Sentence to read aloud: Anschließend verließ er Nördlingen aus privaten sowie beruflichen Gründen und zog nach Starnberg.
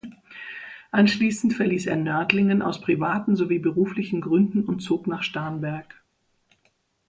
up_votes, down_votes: 2, 0